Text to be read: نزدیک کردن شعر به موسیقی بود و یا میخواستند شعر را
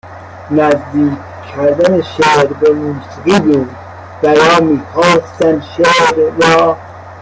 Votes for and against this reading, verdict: 0, 2, rejected